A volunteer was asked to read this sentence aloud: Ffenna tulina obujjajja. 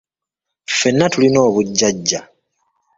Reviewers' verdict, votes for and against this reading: rejected, 2, 3